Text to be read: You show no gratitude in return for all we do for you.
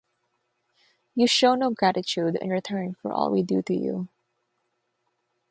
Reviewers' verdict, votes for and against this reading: rejected, 3, 6